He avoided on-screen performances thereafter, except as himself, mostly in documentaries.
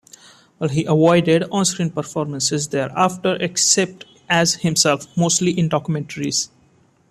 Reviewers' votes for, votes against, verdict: 1, 2, rejected